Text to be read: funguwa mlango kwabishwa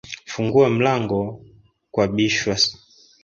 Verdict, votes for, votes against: accepted, 3, 2